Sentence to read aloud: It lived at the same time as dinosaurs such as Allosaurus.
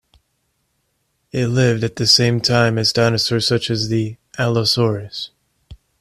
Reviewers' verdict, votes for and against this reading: rejected, 1, 2